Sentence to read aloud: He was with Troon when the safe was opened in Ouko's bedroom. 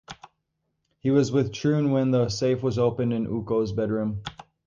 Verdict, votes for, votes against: accepted, 4, 0